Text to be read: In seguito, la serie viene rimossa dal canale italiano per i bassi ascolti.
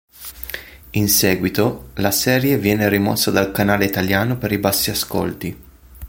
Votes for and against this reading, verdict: 2, 0, accepted